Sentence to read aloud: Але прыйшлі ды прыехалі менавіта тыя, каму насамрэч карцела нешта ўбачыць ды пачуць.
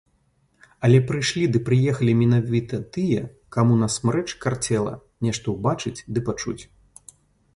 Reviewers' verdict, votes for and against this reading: rejected, 0, 2